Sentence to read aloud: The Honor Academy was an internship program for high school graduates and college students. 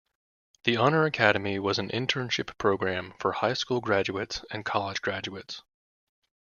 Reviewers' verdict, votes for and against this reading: rejected, 1, 2